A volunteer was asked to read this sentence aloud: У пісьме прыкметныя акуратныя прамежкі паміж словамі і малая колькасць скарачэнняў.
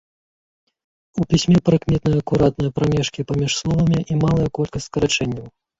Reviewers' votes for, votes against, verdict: 0, 3, rejected